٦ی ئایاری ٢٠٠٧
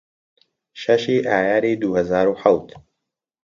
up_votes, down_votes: 0, 2